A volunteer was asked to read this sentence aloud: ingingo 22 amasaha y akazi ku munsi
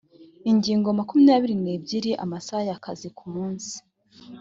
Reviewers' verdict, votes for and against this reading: rejected, 0, 2